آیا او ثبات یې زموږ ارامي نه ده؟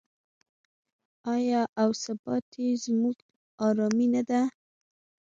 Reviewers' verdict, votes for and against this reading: rejected, 1, 2